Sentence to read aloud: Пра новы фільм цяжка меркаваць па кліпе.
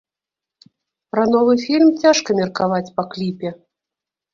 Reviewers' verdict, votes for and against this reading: accepted, 2, 0